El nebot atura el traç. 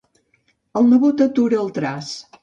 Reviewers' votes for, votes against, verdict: 2, 0, accepted